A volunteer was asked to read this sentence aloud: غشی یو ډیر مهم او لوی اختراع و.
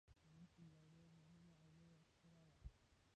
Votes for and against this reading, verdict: 1, 2, rejected